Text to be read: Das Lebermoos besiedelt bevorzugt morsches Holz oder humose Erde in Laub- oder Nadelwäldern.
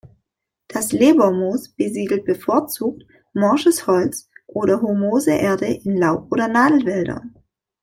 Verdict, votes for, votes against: accepted, 2, 0